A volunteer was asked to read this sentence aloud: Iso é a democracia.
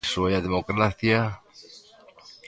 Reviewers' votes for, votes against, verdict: 1, 2, rejected